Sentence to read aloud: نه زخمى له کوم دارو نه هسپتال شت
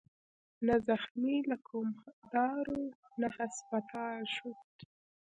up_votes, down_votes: 1, 2